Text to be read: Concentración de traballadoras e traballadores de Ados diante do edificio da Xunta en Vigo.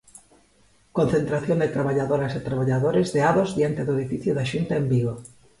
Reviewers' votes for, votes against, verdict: 2, 0, accepted